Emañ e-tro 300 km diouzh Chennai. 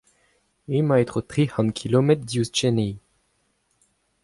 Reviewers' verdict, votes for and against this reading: rejected, 0, 2